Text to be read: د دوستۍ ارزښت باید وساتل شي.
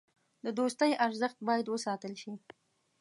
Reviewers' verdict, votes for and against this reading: accepted, 2, 0